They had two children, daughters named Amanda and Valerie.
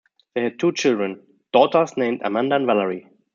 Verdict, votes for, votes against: accepted, 2, 0